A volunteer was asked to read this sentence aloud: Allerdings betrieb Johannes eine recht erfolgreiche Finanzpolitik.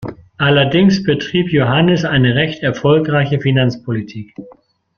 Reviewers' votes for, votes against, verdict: 2, 0, accepted